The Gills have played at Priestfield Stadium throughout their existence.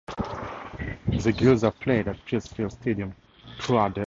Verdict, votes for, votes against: rejected, 0, 4